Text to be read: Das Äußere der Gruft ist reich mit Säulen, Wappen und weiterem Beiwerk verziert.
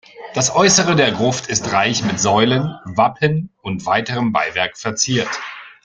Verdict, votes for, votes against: rejected, 1, 2